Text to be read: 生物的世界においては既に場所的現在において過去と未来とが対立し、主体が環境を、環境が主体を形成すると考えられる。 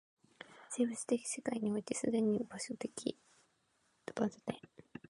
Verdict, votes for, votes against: rejected, 0, 6